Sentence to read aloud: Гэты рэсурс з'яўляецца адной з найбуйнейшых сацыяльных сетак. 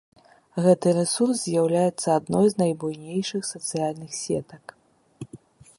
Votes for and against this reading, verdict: 1, 2, rejected